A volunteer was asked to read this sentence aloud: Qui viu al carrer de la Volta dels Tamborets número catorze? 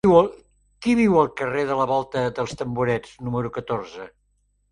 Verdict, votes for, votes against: rejected, 0, 2